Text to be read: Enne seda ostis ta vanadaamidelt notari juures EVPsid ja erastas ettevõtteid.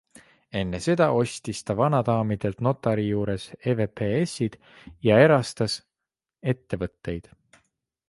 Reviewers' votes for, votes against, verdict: 2, 0, accepted